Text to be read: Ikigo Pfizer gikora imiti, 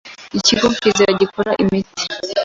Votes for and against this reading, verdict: 2, 0, accepted